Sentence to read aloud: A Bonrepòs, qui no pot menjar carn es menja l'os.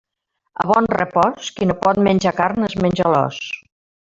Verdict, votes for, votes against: accepted, 2, 0